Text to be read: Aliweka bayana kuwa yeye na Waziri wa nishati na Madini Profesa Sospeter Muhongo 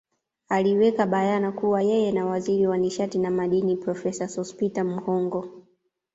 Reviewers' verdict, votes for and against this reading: accepted, 2, 1